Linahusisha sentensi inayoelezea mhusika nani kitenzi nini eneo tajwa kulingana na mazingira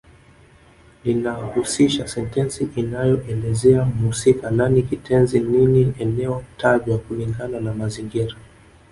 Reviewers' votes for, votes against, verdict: 1, 2, rejected